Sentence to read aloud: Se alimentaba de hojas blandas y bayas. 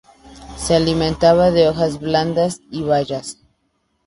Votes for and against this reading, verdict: 4, 0, accepted